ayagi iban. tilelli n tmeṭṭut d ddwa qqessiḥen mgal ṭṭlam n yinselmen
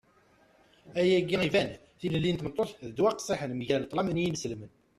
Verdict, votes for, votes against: rejected, 0, 2